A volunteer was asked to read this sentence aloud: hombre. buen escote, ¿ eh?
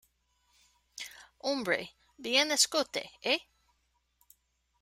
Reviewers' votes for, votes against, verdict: 0, 2, rejected